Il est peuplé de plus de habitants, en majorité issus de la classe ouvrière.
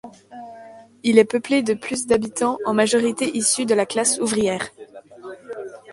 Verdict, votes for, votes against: rejected, 1, 2